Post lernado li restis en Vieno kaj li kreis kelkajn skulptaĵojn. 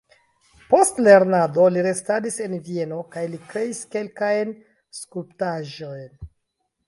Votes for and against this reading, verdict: 0, 2, rejected